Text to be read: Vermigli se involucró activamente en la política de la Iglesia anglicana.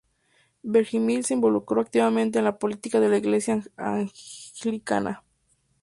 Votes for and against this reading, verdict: 0, 2, rejected